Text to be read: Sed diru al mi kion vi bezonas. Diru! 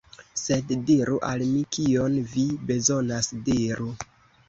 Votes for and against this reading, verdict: 2, 1, accepted